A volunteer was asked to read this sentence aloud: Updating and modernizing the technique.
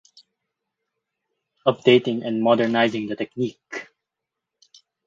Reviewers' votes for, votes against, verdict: 4, 0, accepted